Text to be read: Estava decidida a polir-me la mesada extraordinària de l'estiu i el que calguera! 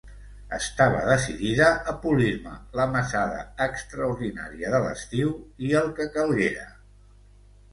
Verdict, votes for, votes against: accepted, 3, 0